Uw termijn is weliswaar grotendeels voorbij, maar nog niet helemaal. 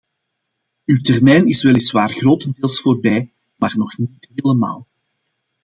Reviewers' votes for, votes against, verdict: 2, 0, accepted